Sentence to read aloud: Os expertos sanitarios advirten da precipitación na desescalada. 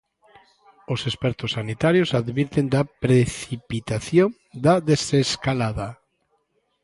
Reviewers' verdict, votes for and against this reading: rejected, 0, 2